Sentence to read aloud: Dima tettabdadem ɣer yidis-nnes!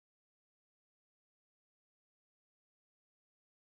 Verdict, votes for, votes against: rejected, 0, 2